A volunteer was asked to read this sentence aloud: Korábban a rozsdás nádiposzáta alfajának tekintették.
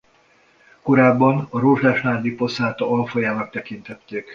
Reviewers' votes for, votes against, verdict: 2, 0, accepted